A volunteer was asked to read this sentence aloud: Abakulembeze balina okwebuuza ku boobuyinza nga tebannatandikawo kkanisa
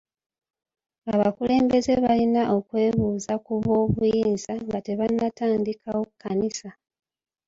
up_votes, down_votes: 1, 2